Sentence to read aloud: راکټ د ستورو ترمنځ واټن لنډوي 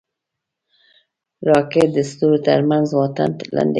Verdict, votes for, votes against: rejected, 2, 4